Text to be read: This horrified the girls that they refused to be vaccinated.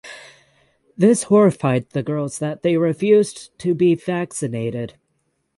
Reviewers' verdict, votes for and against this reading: accepted, 6, 0